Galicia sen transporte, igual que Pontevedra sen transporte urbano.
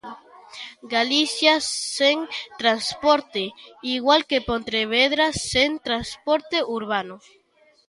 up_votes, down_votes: 1, 2